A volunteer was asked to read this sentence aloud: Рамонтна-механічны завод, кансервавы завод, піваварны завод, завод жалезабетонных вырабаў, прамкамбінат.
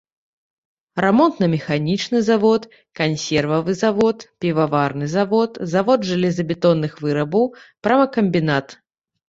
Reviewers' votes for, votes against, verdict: 1, 2, rejected